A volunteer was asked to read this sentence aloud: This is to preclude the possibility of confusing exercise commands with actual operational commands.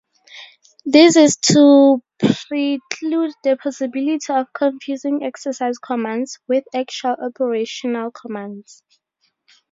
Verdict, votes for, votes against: rejected, 0, 2